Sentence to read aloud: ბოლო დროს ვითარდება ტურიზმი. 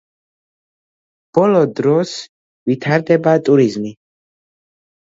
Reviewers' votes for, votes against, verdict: 2, 0, accepted